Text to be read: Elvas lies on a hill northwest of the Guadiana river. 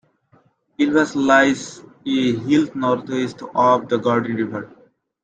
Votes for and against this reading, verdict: 1, 2, rejected